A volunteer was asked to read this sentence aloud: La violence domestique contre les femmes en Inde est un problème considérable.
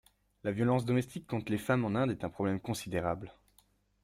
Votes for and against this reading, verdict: 2, 0, accepted